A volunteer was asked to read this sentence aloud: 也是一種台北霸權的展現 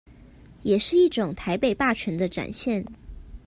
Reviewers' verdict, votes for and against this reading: accepted, 2, 0